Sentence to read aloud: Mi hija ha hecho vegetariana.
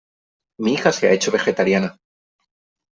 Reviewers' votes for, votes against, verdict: 1, 3, rejected